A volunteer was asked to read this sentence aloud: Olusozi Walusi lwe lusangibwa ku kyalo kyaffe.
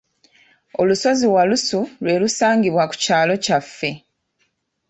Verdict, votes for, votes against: rejected, 1, 2